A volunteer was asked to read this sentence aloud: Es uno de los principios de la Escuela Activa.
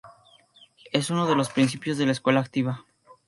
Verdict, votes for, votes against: accepted, 2, 0